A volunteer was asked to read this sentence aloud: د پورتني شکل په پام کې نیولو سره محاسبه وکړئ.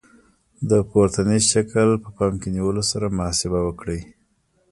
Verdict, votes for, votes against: accepted, 2, 1